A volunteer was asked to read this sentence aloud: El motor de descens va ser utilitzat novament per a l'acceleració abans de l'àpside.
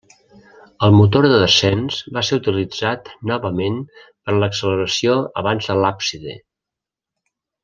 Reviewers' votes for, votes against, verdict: 0, 2, rejected